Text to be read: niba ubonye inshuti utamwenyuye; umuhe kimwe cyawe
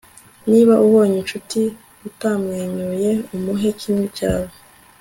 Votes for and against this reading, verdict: 2, 0, accepted